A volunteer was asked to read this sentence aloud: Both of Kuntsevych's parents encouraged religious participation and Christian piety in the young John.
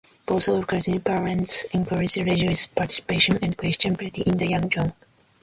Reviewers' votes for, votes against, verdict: 1, 2, rejected